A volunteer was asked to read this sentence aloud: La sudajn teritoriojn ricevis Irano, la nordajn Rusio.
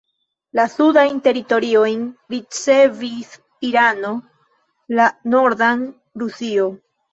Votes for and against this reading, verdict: 0, 2, rejected